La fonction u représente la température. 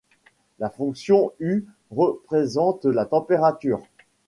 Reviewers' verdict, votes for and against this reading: accepted, 2, 0